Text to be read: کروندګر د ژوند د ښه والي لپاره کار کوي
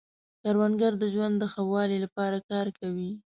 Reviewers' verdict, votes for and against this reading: rejected, 0, 2